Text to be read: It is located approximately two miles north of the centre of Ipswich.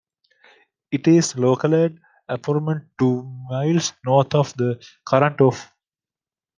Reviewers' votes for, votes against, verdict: 0, 2, rejected